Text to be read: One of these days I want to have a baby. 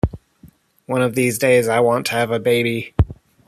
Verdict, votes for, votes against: rejected, 1, 2